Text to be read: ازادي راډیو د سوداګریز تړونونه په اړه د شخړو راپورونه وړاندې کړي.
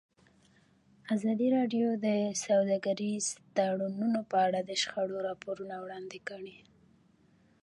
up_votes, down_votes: 1, 2